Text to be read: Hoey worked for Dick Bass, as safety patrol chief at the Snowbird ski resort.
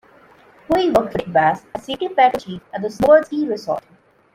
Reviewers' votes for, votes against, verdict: 0, 3, rejected